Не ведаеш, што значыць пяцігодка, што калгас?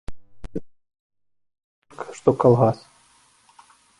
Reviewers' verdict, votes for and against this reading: rejected, 0, 3